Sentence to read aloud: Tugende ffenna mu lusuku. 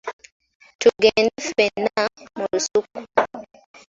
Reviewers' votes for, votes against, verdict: 2, 0, accepted